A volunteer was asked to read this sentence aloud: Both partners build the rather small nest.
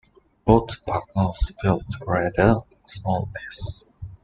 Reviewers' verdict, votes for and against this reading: rejected, 1, 2